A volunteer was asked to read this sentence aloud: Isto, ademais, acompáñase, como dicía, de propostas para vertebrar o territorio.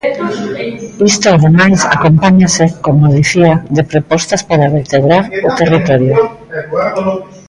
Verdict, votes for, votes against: rejected, 1, 2